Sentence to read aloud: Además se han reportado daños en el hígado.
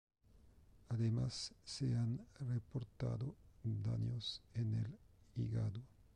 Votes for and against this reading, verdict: 0, 2, rejected